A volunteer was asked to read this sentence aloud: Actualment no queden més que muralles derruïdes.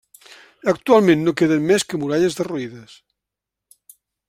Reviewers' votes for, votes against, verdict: 2, 0, accepted